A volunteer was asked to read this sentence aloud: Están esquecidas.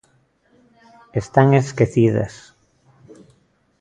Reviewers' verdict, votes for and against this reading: accepted, 2, 0